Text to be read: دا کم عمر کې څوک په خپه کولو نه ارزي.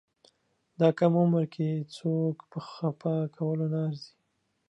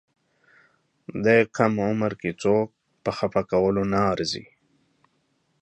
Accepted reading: second